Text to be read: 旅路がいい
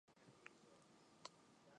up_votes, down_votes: 0, 3